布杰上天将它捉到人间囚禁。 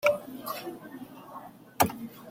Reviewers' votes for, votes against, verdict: 0, 2, rejected